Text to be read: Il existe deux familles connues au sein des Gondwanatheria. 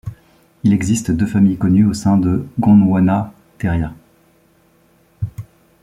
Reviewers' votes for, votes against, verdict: 1, 2, rejected